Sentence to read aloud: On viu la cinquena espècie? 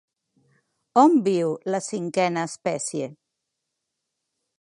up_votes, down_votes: 3, 0